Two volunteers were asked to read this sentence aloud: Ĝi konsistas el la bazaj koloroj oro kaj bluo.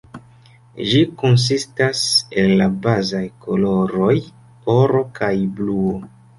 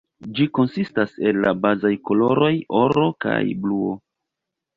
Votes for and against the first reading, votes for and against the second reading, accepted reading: 2, 0, 0, 2, first